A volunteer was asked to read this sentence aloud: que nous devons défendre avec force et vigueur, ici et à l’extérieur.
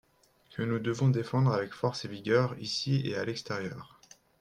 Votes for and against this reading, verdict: 2, 0, accepted